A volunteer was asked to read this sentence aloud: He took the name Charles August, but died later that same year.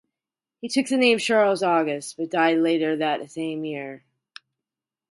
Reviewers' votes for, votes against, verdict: 2, 2, rejected